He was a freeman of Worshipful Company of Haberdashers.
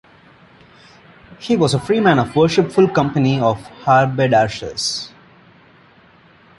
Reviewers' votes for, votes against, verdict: 2, 1, accepted